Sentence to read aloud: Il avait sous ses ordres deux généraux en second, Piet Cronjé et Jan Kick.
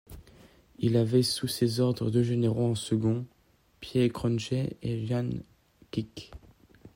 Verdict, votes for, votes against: rejected, 0, 2